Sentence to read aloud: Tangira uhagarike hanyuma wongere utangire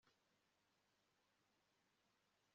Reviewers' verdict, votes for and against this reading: rejected, 1, 2